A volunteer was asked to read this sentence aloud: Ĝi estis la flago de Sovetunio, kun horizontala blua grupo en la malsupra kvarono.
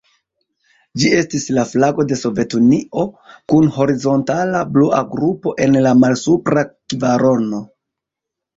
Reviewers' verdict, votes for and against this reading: rejected, 1, 2